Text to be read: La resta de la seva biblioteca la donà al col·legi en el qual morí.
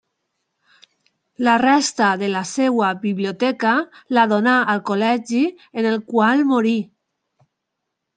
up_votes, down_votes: 0, 2